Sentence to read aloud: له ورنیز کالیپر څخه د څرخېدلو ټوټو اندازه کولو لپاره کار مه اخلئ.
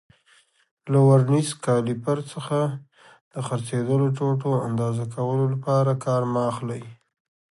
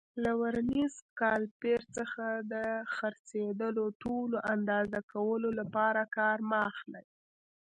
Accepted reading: first